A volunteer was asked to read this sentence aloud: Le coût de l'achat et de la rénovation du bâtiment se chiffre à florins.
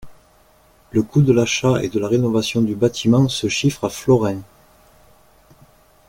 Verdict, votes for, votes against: accepted, 2, 0